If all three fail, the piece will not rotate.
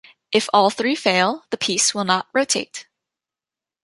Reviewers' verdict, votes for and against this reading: accepted, 2, 0